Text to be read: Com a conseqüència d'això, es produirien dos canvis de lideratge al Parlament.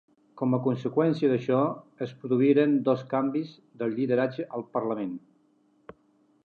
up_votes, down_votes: 0, 2